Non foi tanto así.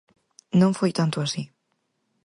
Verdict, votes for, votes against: accepted, 4, 0